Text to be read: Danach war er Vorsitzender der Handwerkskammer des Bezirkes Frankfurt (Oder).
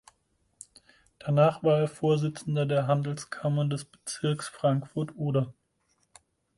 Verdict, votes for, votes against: rejected, 2, 4